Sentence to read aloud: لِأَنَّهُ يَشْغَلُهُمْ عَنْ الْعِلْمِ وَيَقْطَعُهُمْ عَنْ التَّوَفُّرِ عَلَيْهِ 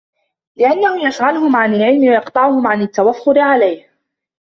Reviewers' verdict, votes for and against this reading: accepted, 2, 0